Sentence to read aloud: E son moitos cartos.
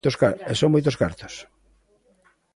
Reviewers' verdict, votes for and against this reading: rejected, 0, 2